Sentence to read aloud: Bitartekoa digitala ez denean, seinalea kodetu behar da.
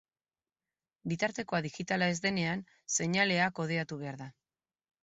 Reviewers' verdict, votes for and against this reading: rejected, 2, 4